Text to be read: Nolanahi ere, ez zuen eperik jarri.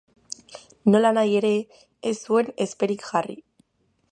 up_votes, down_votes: 0, 2